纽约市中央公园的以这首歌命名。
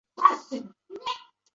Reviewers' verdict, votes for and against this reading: rejected, 2, 3